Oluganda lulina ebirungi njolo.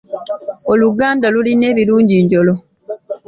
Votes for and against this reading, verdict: 3, 1, accepted